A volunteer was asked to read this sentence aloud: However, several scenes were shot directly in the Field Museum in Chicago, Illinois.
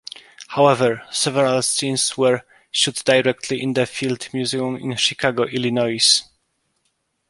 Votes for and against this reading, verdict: 1, 2, rejected